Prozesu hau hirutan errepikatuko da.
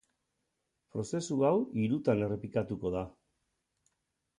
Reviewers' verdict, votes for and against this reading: accepted, 6, 0